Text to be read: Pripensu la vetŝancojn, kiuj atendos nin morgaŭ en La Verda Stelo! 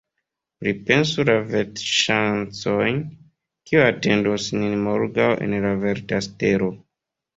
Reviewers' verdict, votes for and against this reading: accepted, 2, 1